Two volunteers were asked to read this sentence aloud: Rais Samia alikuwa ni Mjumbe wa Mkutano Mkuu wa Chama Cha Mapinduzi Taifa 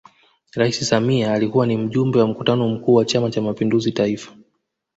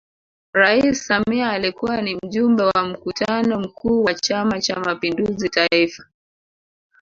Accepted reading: first